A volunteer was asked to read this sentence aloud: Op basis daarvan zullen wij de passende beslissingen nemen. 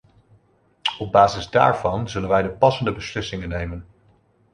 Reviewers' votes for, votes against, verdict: 2, 0, accepted